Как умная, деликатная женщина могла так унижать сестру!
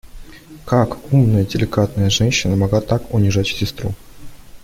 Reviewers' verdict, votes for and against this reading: accepted, 2, 0